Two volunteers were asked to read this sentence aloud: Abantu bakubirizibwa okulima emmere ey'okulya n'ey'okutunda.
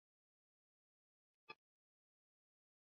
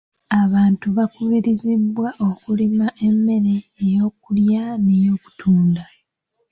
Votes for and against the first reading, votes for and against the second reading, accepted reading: 0, 2, 2, 0, second